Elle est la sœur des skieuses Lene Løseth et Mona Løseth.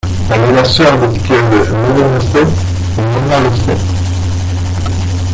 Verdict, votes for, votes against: rejected, 0, 2